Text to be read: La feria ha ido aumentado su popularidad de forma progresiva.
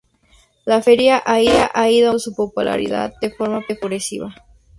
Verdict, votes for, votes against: rejected, 0, 2